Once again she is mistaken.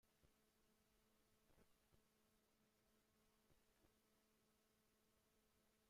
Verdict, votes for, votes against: rejected, 0, 2